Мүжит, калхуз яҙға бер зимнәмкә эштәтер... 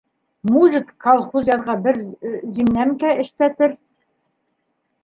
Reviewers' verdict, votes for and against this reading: rejected, 1, 2